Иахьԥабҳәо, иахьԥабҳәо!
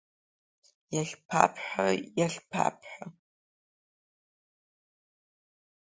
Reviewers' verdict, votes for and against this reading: accepted, 2, 1